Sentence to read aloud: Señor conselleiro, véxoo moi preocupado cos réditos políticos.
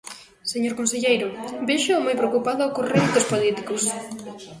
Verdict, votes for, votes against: accepted, 2, 0